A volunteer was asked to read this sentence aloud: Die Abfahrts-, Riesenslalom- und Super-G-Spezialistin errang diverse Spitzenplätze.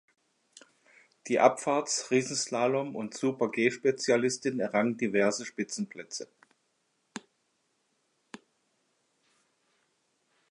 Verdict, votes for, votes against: rejected, 1, 2